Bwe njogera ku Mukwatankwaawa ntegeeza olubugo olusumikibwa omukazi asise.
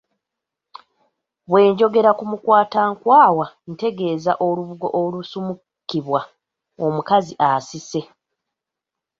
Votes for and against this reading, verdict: 1, 2, rejected